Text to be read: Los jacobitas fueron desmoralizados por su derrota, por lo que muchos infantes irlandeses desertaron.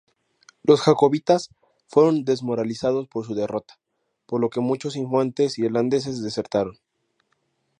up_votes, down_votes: 2, 0